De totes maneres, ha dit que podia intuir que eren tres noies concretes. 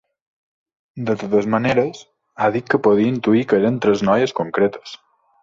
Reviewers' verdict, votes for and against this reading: accepted, 2, 1